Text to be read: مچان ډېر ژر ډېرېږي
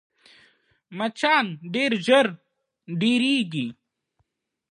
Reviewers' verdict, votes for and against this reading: accepted, 2, 0